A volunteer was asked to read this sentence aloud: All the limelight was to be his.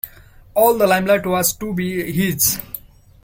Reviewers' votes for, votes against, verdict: 2, 1, accepted